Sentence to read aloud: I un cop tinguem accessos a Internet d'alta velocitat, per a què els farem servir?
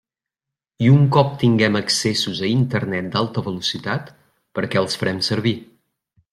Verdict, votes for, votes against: accepted, 2, 0